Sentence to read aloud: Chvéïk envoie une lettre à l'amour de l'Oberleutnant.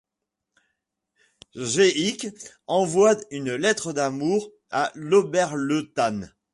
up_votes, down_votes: 1, 2